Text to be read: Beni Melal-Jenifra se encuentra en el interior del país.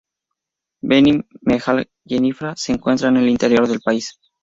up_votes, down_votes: 0, 4